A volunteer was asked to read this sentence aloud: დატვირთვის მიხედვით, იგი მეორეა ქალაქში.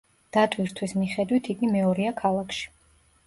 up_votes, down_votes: 2, 0